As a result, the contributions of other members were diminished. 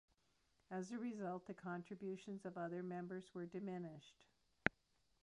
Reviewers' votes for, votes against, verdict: 1, 2, rejected